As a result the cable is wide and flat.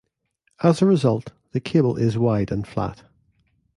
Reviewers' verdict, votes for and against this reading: accepted, 2, 0